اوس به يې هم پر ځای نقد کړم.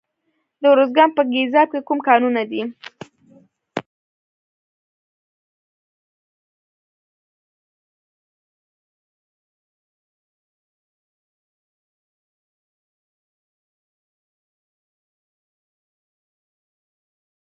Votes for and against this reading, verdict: 1, 2, rejected